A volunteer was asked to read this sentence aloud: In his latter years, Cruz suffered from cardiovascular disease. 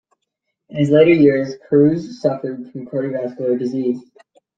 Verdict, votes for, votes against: rejected, 0, 2